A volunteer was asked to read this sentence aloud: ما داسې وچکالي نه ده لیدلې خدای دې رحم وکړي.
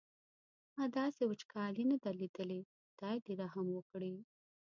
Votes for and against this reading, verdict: 2, 0, accepted